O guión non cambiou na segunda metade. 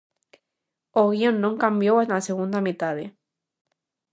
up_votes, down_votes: 2, 0